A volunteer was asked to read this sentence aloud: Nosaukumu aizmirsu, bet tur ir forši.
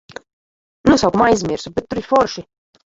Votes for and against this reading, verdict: 0, 3, rejected